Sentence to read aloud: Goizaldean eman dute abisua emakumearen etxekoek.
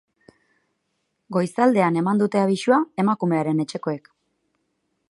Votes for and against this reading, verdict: 2, 2, rejected